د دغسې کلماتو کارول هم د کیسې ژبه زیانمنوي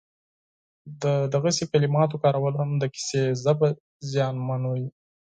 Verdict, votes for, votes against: rejected, 2, 4